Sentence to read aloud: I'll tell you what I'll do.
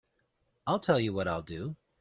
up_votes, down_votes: 3, 0